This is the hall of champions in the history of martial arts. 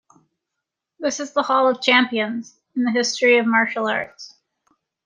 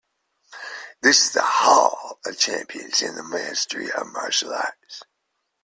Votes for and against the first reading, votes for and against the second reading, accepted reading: 2, 0, 0, 2, first